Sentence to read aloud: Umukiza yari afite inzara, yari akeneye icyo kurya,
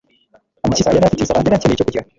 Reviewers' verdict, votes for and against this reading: rejected, 0, 2